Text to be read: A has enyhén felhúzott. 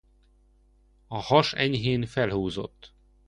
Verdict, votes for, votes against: accepted, 2, 0